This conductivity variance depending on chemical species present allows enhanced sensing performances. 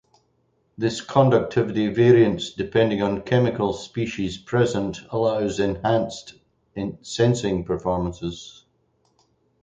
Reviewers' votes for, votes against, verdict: 2, 2, rejected